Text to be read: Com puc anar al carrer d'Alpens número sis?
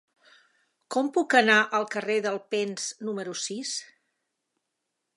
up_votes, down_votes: 2, 0